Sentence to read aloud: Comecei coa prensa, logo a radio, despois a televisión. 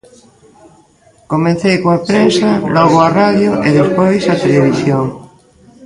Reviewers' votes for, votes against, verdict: 1, 2, rejected